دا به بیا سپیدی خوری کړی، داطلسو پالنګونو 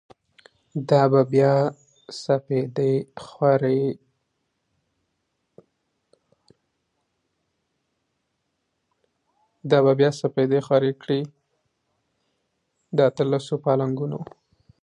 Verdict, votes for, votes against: rejected, 2, 3